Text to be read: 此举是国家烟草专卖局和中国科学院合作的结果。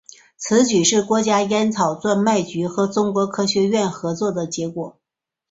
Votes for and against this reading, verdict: 2, 0, accepted